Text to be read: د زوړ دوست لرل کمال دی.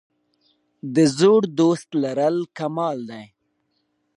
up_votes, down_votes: 2, 1